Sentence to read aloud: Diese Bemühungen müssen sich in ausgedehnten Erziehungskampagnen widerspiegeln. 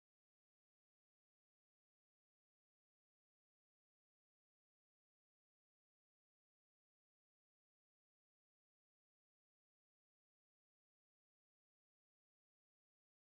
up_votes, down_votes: 0, 4